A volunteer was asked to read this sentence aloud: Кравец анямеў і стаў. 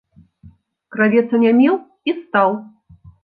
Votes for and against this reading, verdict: 2, 1, accepted